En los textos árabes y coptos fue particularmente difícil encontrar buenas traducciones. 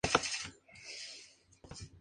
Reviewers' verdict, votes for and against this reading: rejected, 0, 2